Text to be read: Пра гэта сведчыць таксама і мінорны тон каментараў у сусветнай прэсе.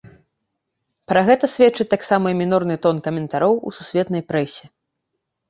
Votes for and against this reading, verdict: 0, 2, rejected